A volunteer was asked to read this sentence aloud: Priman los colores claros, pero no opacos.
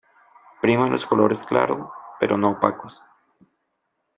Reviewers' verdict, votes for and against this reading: rejected, 1, 2